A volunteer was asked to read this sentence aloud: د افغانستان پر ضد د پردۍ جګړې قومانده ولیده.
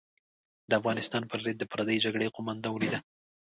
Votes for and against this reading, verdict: 2, 1, accepted